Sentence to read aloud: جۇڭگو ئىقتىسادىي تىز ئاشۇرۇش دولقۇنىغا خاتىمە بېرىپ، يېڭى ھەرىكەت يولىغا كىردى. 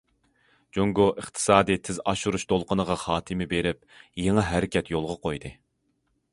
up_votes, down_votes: 0, 2